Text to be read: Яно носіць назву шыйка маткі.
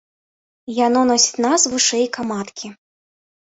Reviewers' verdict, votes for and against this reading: rejected, 0, 2